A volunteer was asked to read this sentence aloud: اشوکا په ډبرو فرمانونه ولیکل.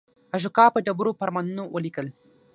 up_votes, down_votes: 6, 3